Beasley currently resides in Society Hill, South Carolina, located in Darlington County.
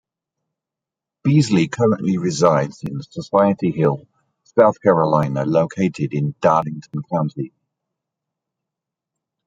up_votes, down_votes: 2, 0